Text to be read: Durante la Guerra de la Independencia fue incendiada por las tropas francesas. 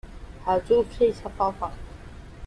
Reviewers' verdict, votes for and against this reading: rejected, 0, 2